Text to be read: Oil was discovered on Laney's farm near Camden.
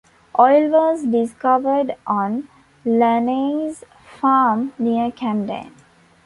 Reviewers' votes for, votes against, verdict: 2, 1, accepted